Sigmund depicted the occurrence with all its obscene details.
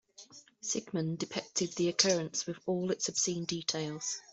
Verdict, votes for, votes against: accepted, 2, 0